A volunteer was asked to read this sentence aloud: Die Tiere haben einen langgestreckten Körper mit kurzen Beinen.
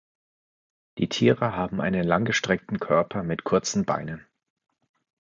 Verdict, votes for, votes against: rejected, 0, 2